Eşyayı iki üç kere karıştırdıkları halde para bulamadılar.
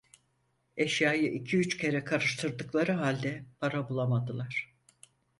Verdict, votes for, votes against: accepted, 4, 0